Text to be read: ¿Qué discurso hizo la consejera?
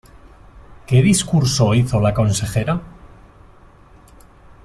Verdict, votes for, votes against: accepted, 3, 0